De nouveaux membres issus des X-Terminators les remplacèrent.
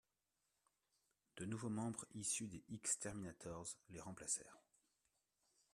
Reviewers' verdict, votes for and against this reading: accepted, 2, 0